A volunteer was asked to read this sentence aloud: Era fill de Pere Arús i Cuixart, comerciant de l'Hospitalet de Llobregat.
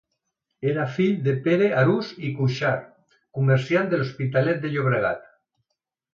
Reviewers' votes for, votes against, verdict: 2, 0, accepted